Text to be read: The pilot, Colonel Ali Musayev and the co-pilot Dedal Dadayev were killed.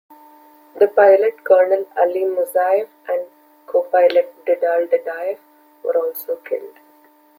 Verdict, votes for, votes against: rejected, 1, 2